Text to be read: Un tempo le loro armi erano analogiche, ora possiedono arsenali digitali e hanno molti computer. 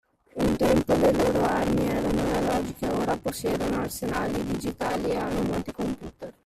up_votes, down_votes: 0, 2